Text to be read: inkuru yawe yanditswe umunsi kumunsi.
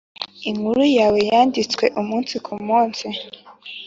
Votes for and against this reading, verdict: 2, 0, accepted